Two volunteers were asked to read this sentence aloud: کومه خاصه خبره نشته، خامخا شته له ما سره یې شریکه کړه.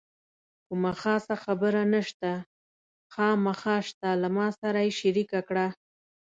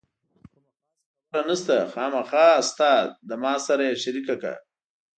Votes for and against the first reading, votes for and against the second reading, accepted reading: 2, 0, 1, 2, first